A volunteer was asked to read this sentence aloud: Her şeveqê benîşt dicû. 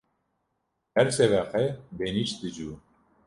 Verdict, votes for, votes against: rejected, 0, 2